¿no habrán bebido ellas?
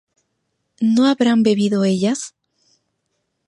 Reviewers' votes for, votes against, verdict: 2, 0, accepted